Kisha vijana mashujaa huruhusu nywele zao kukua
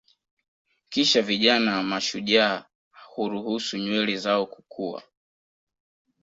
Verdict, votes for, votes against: accepted, 2, 0